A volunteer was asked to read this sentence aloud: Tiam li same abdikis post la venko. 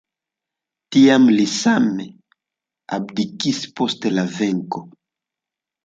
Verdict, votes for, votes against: accepted, 2, 1